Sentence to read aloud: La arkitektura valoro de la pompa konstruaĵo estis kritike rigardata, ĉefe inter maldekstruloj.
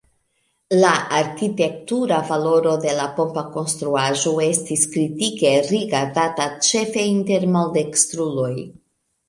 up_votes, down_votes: 2, 1